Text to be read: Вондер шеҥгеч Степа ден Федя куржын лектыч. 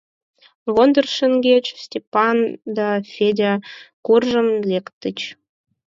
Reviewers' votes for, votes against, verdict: 4, 0, accepted